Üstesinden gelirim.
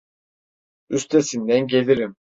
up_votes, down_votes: 2, 0